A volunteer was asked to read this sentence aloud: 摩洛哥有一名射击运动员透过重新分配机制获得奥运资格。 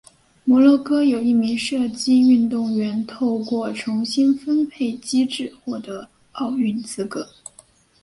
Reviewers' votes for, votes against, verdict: 2, 0, accepted